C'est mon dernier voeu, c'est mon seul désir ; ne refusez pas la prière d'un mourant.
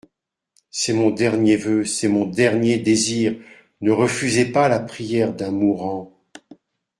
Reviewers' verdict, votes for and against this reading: rejected, 1, 2